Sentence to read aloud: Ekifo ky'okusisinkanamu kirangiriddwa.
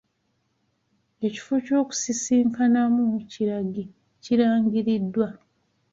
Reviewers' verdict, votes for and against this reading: rejected, 1, 3